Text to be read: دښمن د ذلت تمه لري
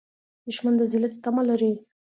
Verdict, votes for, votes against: accepted, 2, 0